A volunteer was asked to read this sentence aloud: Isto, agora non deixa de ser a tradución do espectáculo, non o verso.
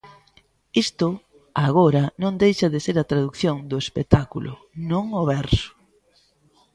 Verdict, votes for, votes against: rejected, 1, 2